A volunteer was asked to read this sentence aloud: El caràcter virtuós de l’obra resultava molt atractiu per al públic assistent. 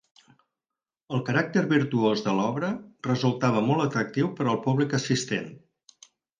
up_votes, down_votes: 4, 0